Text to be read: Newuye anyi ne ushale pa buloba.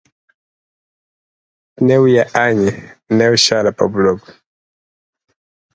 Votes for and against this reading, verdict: 4, 0, accepted